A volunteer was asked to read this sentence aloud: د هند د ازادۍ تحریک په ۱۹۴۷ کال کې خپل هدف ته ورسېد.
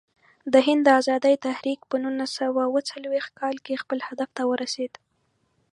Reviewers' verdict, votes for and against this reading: rejected, 0, 2